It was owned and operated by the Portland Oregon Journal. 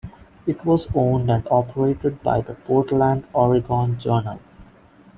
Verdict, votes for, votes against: accepted, 2, 0